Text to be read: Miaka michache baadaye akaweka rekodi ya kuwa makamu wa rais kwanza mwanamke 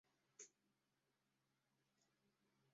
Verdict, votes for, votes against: rejected, 0, 2